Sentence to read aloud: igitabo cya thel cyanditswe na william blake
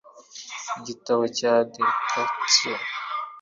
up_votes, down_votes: 0, 2